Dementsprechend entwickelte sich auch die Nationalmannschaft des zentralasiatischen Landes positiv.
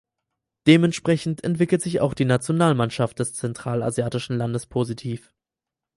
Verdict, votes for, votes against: rejected, 0, 4